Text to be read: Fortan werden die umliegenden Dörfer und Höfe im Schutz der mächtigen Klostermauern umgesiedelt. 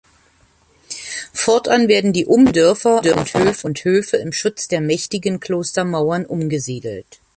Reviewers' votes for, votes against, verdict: 0, 2, rejected